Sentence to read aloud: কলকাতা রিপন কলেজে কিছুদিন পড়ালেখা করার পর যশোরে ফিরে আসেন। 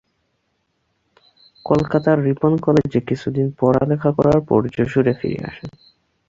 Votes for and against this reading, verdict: 2, 2, rejected